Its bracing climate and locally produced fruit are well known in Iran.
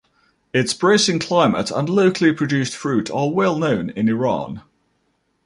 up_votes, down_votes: 2, 0